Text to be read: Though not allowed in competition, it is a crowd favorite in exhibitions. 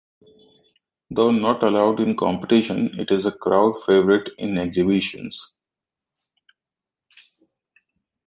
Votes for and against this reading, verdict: 1, 2, rejected